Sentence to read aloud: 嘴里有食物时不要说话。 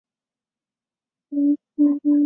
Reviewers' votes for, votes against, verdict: 1, 4, rejected